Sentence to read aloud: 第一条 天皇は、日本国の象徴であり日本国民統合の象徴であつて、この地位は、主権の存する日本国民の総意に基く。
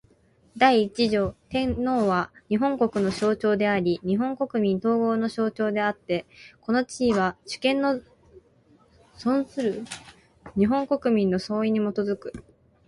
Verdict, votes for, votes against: accepted, 6, 0